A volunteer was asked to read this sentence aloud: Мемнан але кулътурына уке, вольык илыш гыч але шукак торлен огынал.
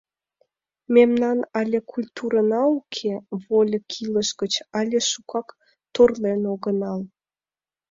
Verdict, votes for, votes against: rejected, 1, 2